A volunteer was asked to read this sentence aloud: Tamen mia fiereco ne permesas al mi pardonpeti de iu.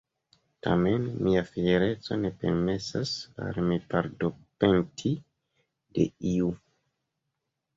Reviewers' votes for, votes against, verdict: 2, 0, accepted